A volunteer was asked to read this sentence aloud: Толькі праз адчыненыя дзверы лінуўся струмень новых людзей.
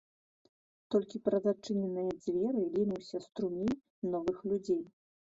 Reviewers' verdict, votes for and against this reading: rejected, 1, 2